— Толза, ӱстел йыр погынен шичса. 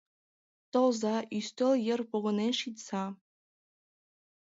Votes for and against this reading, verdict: 2, 1, accepted